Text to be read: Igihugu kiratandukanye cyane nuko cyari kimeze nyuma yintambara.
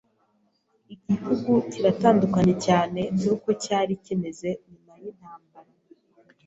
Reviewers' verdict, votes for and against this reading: rejected, 0, 2